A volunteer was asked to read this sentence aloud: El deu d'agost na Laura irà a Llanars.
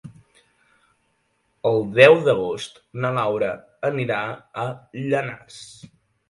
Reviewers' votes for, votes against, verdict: 0, 3, rejected